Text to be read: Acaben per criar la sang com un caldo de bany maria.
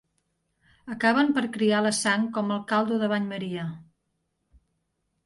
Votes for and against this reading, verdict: 0, 2, rejected